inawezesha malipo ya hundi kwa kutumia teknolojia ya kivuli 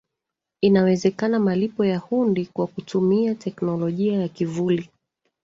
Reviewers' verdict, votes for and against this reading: rejected, 1, 2